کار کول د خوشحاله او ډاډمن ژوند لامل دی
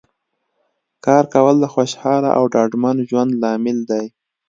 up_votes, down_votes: 2, 0